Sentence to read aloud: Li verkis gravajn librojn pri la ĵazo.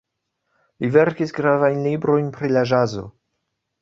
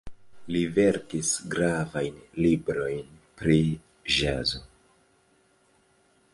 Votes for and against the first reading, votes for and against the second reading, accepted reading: 2, 0, 0, 2, first